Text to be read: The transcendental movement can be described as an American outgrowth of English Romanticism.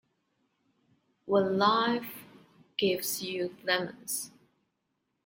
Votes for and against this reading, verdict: 0, 2, rejected